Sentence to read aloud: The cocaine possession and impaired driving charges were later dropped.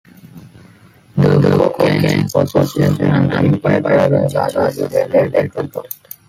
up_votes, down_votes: 1, 4